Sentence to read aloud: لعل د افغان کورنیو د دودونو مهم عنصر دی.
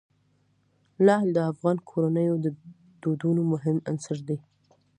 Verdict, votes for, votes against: accepted, 2, 0